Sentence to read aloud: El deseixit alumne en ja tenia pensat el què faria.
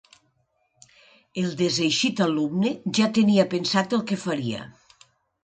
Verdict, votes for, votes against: rejected, 1, 2